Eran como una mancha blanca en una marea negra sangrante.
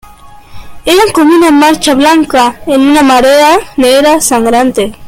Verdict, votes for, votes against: rejected, 1, 2